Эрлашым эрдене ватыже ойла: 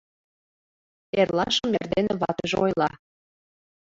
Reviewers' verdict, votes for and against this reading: accepted, 2, 1